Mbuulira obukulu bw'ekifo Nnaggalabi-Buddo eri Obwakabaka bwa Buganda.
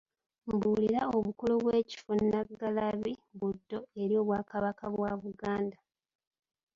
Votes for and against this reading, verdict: 0, 2, rejected